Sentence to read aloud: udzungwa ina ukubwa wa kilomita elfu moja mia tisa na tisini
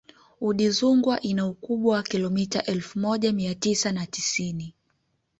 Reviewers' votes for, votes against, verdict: 2, 1, accepted